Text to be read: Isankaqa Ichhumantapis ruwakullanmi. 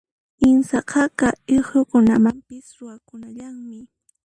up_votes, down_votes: 0, 2